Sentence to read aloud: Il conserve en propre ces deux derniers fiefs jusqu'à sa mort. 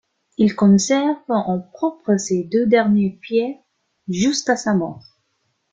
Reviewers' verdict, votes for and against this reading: accepted, 2, 1